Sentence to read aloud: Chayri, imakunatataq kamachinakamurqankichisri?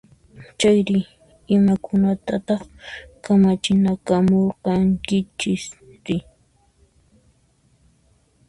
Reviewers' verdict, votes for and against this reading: accepted, 2, 0